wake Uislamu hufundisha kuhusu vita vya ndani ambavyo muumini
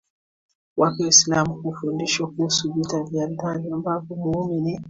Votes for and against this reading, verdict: 2, 1, accepted